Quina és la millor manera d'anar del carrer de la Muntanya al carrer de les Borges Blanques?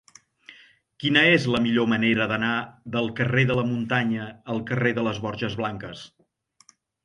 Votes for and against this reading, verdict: 3, 0, accepted